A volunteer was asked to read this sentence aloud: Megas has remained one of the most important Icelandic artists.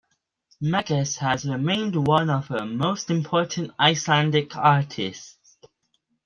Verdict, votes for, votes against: rejected, 1, 2